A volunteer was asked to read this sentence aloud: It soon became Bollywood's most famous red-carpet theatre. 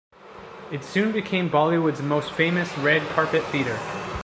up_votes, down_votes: 2, 0